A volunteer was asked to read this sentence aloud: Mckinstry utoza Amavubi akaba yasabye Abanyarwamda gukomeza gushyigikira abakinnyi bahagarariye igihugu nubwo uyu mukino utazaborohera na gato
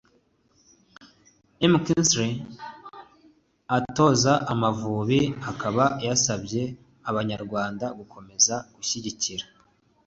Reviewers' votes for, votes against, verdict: 0, 2, rejected